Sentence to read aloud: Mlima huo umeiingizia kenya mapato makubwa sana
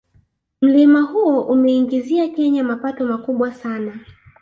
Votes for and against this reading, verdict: 0, 2, rejected